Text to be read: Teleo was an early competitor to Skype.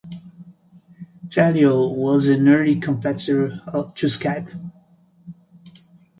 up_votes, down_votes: 0, 2